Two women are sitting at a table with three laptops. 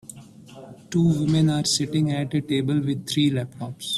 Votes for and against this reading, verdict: 2, 0, accepted